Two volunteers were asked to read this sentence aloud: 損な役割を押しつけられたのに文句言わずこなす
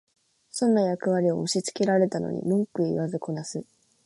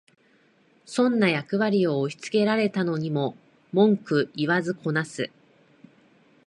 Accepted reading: first